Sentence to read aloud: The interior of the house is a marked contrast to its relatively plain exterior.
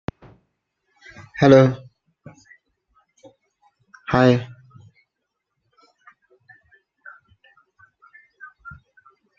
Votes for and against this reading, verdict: 0, 2, rejected